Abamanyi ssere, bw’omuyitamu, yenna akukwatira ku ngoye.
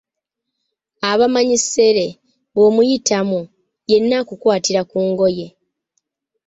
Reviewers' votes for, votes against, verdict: 2, 0, accepted